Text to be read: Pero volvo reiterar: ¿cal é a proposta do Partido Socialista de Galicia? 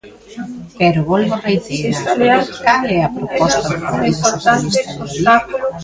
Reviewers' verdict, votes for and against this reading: rejected, 0, 2